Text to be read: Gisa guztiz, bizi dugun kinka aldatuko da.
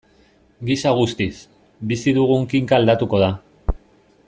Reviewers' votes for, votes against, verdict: 2, 0, accepted